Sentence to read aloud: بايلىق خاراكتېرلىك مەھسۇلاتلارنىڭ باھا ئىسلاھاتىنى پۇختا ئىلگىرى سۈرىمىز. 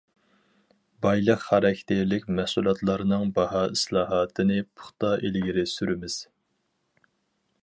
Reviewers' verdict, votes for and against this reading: accepted, 4, 0